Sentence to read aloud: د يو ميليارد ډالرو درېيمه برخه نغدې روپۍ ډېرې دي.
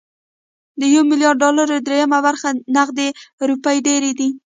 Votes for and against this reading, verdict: 0, 2, rejected